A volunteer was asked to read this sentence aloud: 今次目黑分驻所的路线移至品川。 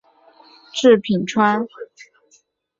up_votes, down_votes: 0, 8